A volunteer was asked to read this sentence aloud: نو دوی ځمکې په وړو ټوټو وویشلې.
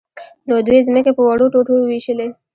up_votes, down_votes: 2, 0